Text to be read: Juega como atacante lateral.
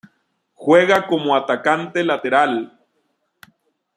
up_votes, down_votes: 2, 0